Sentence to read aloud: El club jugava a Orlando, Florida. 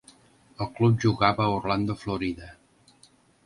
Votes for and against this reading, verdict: 3, 0, accepted